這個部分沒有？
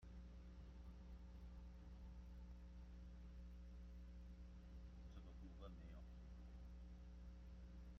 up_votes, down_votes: 0, 2